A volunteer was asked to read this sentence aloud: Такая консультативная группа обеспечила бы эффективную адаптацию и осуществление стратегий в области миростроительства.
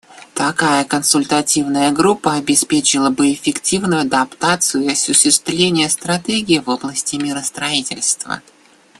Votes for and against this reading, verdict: 1, 2, rejected